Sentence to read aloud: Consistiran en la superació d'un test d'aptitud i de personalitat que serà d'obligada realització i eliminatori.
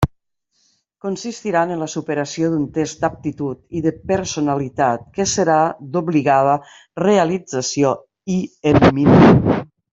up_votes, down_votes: 0, 2